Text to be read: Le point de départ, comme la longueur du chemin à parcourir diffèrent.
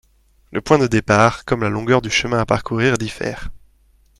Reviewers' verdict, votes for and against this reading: accepted, 2, 0